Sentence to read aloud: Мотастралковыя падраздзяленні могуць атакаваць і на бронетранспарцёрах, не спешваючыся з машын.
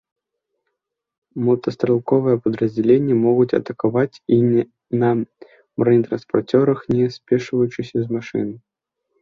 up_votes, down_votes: 2, 0